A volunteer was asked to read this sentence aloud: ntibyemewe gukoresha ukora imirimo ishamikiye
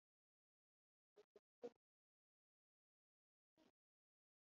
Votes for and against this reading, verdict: 1, 3, rejected